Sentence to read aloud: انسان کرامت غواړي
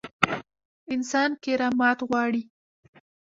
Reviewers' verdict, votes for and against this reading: accepted, 2, 0